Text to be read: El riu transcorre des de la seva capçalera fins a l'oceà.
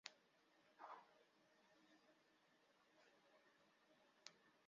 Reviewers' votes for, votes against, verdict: 0, 2, rejected